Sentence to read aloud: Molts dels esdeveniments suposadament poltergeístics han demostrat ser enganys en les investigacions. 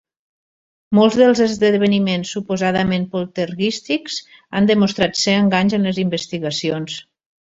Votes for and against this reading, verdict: 0, 2, rejected